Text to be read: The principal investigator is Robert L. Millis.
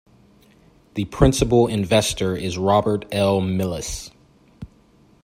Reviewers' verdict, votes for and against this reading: rejected, 0, 2